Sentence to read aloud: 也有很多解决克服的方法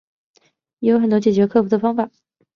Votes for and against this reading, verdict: 4, 0, accepted